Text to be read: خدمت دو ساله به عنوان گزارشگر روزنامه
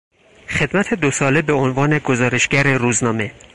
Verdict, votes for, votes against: accepted, 4, 0